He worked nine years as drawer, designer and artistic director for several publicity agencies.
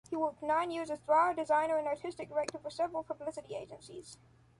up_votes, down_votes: 0, 2